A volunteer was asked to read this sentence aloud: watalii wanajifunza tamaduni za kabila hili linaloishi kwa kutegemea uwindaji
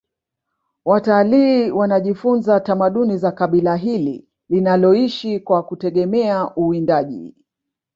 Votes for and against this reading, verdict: 1, 2, rejected